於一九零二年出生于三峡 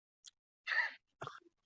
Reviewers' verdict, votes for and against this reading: rejected, 0, 2